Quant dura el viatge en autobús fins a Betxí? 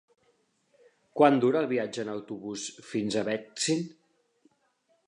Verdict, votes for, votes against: rejected, 0, 2